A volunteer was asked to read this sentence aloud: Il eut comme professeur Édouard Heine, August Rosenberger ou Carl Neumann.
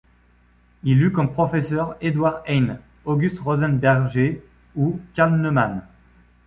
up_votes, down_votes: 2, 0